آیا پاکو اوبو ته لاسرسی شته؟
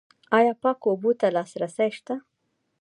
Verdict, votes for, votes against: rejected, 1, 2